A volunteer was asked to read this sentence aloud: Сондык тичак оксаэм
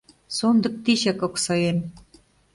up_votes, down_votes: 2, 0